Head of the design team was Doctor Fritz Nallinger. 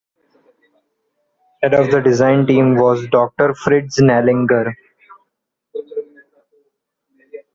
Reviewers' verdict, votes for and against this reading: accepted, 2, 0